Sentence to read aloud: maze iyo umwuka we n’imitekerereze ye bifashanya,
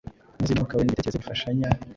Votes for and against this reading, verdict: 0, 2, rejected